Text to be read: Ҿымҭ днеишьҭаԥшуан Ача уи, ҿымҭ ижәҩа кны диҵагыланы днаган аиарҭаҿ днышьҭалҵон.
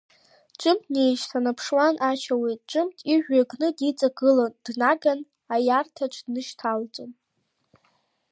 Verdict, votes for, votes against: accepted, 2, 1